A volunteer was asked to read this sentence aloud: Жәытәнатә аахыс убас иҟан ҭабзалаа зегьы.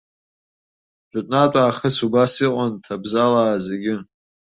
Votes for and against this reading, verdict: 2, 0, accepted